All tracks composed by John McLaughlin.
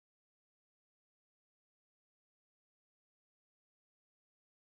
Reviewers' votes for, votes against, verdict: 0, 2, rejected